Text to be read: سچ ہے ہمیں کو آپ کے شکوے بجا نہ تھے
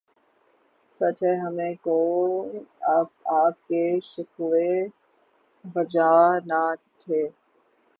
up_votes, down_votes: 3, 3